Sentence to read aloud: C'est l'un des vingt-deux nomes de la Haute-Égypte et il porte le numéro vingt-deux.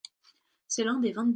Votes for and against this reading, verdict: 0, 2, rejected